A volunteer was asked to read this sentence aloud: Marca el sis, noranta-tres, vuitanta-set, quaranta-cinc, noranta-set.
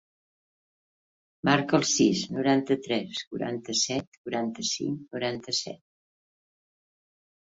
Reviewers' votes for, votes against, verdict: 0, 4, rejected